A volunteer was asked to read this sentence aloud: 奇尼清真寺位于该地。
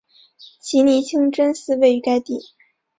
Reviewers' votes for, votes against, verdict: 2, 0, accepted